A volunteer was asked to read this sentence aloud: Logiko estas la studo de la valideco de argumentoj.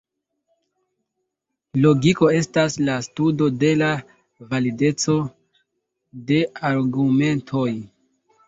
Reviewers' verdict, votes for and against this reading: accepted, 2, 1